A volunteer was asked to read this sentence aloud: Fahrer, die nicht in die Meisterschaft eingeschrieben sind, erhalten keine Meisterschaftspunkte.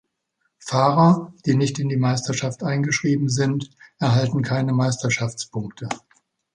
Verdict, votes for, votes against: accepted, 3, 0